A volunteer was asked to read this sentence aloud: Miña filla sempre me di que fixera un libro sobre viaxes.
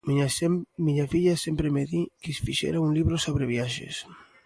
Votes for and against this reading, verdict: 0, 2, rejected